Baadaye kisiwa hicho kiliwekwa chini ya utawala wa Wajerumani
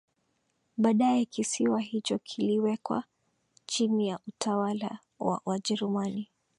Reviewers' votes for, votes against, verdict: 2, 0, accepted